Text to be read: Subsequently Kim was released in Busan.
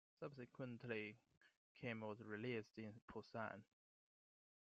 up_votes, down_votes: 2, 1